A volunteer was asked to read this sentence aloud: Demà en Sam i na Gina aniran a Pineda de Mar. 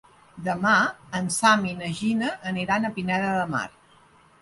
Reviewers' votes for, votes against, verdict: 3, 0, accepted